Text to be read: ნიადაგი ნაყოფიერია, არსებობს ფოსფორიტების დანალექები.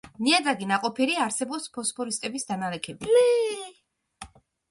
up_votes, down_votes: 0, 2